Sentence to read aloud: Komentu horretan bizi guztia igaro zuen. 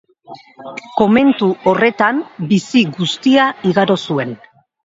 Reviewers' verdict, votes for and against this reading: accepted, 2, 0